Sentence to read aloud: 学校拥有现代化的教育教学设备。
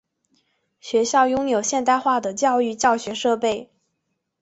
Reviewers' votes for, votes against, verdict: 3, 0, accepted